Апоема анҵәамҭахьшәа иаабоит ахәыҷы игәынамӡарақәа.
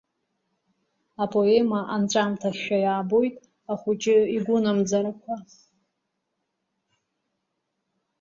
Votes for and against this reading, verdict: 1, 2, rejected